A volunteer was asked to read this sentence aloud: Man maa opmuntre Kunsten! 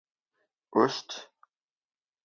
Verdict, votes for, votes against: rejected, 0, 2